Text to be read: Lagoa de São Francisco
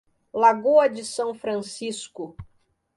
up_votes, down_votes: 2, 0